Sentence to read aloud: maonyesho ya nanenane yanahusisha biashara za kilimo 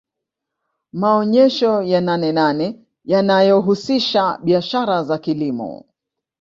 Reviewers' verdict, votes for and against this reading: accepted, 2, 0